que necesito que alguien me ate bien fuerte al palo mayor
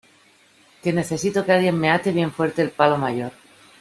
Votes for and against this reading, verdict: 2, 1, accepted